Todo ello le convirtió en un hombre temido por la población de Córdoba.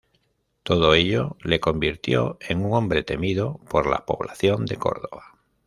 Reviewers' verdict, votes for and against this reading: rejected, 1, 2